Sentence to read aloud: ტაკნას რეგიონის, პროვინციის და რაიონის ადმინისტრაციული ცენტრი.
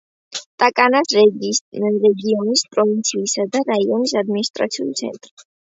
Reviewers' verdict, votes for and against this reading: accepted, 2, 0